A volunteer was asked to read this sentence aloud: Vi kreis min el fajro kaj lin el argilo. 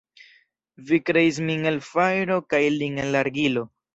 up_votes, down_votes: 0, 2